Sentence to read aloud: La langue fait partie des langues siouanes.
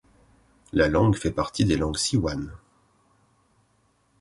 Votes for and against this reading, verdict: 2, 0, accepted